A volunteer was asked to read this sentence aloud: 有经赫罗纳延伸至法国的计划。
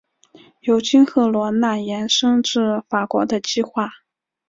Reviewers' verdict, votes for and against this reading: accepted, 4, 1